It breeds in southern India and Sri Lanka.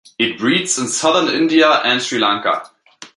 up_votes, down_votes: 2, 0